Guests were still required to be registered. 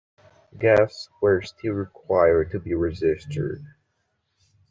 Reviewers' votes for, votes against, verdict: 2, 0, accepted